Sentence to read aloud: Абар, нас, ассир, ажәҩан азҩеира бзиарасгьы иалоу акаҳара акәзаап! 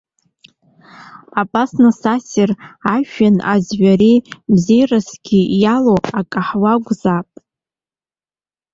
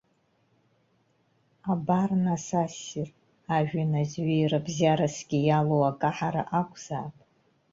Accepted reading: second